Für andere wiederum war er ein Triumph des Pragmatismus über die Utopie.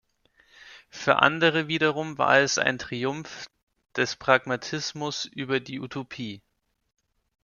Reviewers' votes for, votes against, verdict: 0, 2, rejected